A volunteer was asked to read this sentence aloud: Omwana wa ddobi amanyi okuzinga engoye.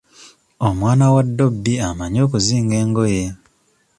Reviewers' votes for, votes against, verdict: 2, 0, accepted